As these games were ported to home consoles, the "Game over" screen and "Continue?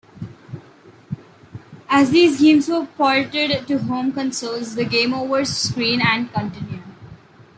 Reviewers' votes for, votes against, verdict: 2, 0, accepted